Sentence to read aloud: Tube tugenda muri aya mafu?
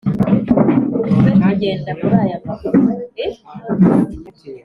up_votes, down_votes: 1, 3